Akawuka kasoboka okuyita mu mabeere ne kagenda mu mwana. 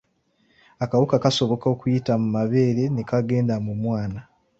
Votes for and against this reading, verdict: 2, 0, accepted